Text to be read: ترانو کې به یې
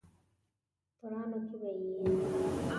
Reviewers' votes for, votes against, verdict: 0, 2, rejected